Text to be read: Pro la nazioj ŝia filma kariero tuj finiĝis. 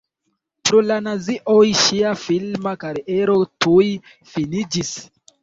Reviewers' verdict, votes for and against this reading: accepted, 2, 1